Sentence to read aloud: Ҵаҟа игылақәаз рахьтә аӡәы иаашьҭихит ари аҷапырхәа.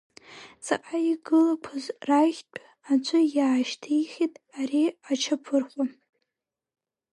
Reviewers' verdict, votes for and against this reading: accepted, 3, 1